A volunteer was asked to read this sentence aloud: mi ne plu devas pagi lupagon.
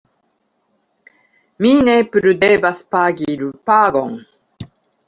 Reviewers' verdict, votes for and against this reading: accepted, 3, 0